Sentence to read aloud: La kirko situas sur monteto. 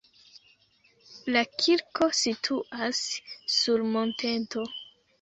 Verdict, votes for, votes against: rejected, 1, 2